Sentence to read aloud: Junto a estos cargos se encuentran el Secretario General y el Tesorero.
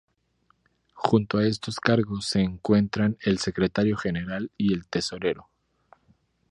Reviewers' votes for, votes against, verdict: 2, 0, accepted